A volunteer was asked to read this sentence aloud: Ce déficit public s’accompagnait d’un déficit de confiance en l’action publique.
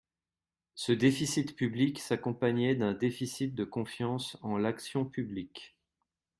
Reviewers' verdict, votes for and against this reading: accepted, 2, 0